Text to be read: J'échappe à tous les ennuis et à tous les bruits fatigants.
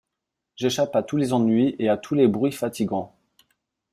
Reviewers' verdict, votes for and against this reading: accepted, 2, 0